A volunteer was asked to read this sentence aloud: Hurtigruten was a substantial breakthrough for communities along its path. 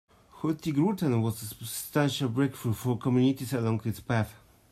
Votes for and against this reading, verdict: 1, 2, rejected